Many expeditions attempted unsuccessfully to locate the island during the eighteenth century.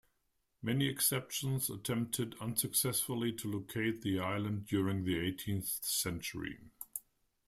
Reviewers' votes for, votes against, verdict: 0, 2, rejected